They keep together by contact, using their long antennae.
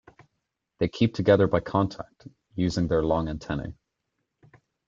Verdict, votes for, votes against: accepted, 2, 0